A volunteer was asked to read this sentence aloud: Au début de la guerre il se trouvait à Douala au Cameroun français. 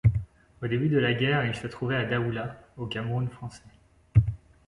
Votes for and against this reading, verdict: 2, 3, rejected